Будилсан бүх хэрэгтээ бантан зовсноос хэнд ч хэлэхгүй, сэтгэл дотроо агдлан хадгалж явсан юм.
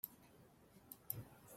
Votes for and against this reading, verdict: 0, 2, rejected